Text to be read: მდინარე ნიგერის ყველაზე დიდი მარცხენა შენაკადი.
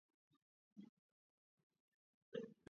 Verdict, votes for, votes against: rejected, 0, 2